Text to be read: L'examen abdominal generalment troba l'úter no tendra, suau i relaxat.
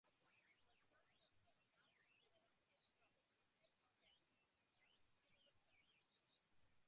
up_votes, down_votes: 0, 2